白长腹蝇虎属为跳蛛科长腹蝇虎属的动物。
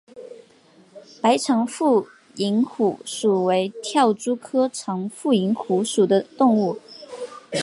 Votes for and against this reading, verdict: 2, 0, accepted